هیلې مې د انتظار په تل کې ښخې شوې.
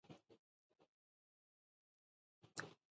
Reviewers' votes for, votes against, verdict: 0, 2, rejected